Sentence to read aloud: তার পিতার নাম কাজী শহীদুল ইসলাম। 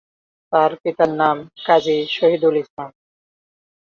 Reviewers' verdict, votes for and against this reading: accepted, 9, 0